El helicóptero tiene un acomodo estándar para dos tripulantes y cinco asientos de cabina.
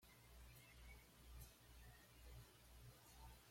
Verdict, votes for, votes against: rejected, 1, 2